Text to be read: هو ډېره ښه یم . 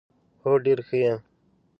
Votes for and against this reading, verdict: 0, 2, rejected